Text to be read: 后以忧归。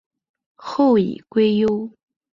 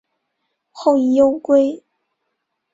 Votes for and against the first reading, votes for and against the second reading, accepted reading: 2, 3, 2, 0, second